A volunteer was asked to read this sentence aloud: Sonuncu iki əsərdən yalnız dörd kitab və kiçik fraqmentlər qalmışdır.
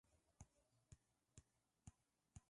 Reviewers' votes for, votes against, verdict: 0, 2, rejected